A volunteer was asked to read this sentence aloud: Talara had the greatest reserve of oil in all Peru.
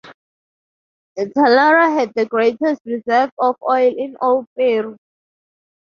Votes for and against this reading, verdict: 2, 2, rejected